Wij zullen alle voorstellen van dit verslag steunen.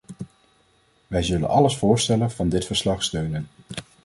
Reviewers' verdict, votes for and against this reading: rejected, 0, 2